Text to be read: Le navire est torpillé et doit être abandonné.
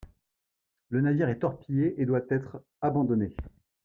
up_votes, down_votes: 2, 0